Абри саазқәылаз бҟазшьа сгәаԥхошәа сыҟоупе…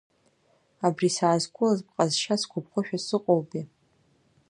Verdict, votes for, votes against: accepted, 2, 0